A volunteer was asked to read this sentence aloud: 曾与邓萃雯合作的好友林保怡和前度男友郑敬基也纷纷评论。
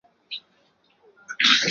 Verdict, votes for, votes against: rejected, 0, 4